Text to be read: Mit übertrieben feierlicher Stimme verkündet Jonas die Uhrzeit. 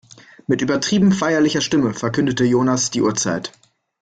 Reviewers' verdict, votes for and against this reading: rejected, 0, 2